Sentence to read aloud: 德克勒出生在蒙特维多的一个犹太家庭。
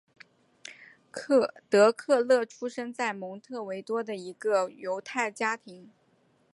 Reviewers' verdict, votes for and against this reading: rejected, 1, 2